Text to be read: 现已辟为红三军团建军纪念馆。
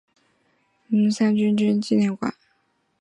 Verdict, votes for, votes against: accepted, 2, 0